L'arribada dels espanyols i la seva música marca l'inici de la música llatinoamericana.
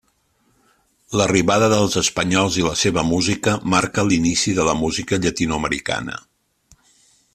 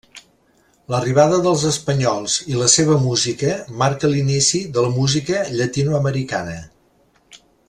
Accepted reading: first